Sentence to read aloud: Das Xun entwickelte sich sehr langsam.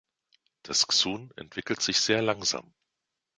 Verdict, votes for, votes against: rejected, 1, 2